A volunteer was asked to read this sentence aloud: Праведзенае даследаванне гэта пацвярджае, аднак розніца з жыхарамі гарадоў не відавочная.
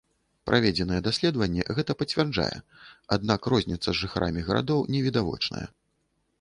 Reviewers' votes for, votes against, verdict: 2, 0, accepted